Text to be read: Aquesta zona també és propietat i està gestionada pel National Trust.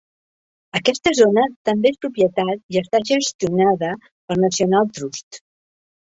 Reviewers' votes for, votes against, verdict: 3, 1, accepted